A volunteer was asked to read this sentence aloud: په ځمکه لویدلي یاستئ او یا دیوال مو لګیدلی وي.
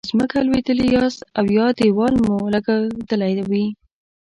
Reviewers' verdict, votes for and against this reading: rejected, 1, 2